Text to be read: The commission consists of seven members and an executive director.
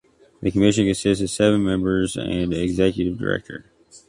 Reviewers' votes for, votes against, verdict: 0, 2, rejected